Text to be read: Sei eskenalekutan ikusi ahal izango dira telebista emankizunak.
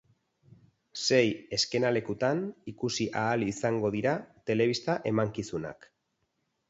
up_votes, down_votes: 2, 2